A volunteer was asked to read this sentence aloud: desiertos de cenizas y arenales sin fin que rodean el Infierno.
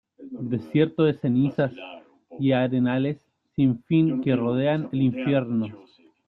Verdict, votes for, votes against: rejected, 1, 2